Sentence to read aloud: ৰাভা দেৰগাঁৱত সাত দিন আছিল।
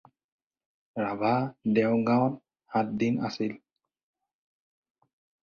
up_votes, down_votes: 4, 0